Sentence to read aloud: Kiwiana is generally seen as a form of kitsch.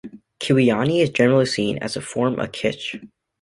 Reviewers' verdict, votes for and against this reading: accepted, 2, 1